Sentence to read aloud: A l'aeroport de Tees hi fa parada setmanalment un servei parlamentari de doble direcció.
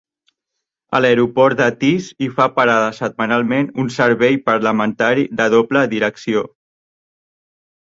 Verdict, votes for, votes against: accepted, 2, 0